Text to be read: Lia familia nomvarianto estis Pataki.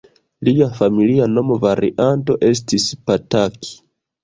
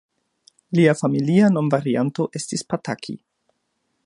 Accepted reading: second